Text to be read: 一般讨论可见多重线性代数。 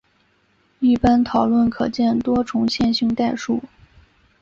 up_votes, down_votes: 2, 0